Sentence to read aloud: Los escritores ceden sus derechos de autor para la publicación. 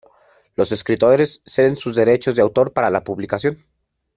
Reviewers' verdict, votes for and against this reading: rejected, 1, 2